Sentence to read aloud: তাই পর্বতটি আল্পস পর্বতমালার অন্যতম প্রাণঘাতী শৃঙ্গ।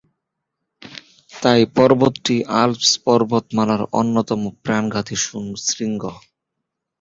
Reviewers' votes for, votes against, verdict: 1, 2, rejected